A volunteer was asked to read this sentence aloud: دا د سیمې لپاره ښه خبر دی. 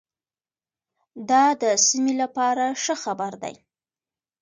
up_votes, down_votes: 2, 0